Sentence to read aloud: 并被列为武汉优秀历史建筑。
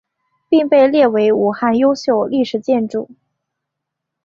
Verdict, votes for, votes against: accepted, 2, 0